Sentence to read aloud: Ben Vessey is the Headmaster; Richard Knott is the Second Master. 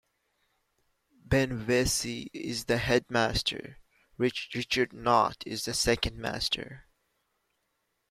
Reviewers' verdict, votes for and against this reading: rejected, 1, 2